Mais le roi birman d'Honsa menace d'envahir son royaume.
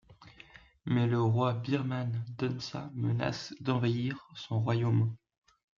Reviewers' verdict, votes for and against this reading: rejected, 1, 2